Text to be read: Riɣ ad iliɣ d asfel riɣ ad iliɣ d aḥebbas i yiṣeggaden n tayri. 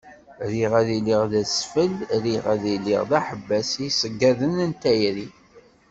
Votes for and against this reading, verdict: 2, 0, accepted